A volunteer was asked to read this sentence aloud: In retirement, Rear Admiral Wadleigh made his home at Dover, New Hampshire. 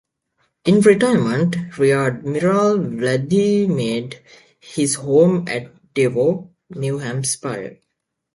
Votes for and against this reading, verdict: 0, 2, rejected